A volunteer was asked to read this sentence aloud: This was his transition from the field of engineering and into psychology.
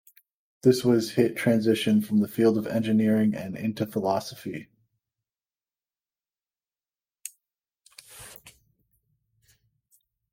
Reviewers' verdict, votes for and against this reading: rejected, 1, 2